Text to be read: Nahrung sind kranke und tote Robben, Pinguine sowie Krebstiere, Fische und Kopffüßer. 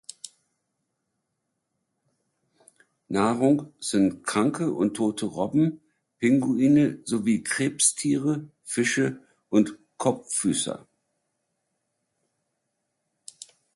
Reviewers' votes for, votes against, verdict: 2, 0, accepted